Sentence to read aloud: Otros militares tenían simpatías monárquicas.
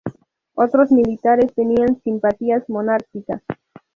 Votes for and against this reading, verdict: 0, 2, rejected